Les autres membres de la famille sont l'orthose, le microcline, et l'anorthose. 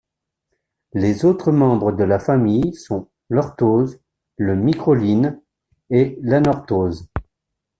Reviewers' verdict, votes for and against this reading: rejected, 0, 2